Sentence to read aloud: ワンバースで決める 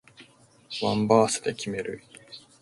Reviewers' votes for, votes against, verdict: 2, 0, accepted